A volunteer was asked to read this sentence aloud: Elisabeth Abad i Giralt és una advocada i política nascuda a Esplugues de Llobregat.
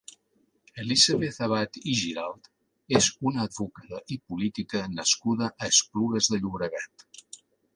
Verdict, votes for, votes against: accepted, 2, 0